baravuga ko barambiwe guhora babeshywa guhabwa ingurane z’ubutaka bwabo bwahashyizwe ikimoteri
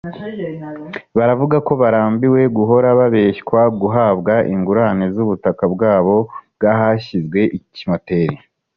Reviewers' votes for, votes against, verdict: 2, 0, accepted